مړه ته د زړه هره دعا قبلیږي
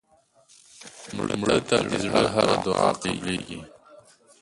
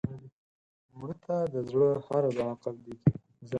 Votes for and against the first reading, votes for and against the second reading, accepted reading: 1, 5, 4, 0, second